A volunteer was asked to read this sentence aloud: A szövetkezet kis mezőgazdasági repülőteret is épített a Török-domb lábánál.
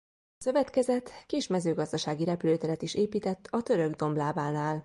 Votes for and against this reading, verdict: 0, 2, rejected